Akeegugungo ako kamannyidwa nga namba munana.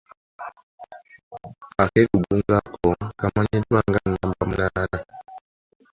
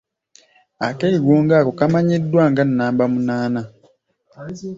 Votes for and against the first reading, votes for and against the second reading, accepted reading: 0, 3, 2, 1, second